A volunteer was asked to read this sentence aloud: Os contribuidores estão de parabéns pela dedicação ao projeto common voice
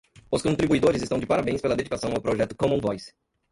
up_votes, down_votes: 1, 2